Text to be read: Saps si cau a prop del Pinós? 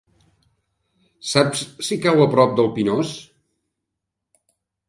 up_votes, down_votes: 3, 0